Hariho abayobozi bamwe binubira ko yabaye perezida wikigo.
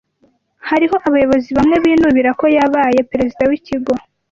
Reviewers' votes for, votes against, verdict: 2, 0, accepted